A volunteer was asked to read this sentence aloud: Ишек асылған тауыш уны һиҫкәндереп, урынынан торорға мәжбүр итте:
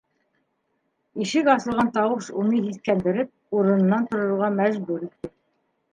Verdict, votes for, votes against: rejected, 0, 2